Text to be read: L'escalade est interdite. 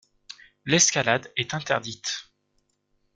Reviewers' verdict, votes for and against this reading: accepted, 2, 0